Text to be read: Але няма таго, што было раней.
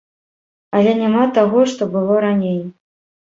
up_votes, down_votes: 2, 0